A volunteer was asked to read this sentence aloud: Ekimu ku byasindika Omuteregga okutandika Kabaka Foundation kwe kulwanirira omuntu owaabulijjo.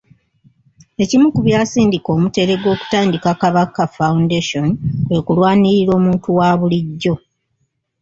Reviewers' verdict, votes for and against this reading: rejected, 0, 2